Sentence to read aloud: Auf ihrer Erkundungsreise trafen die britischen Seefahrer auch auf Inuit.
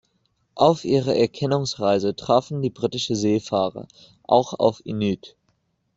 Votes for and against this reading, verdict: 0, 2, rejected